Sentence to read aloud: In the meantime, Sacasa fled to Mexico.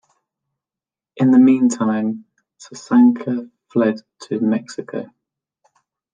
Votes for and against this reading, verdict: 1, 2, rejected